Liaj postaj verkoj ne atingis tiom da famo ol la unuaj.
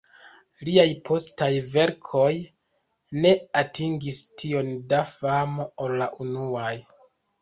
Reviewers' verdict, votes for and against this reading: rejected, 1, 2